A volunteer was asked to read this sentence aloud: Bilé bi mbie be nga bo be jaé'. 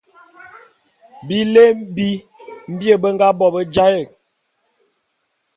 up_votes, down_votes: 2, 0